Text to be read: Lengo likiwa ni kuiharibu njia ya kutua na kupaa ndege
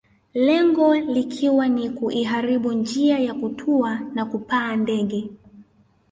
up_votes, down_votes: 0, 2